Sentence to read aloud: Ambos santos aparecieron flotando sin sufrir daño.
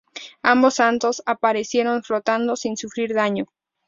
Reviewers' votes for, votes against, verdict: 2, 0, accepted